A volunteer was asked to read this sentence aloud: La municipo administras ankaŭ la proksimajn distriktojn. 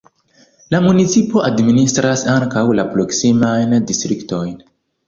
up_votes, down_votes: 2, 1